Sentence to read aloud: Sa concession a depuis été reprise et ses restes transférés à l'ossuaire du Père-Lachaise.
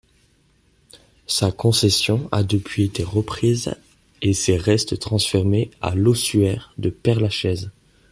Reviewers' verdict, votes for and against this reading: rejected, 1, 2